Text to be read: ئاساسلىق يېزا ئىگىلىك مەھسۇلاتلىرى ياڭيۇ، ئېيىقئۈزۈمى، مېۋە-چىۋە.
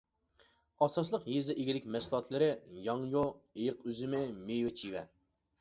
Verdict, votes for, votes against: rejected, 0, 2